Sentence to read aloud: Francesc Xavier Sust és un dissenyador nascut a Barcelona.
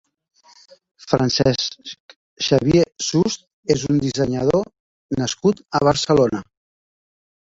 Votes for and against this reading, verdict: 4, 0, accepted